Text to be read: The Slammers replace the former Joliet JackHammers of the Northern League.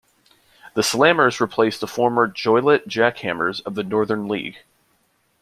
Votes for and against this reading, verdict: 2, 0, accepted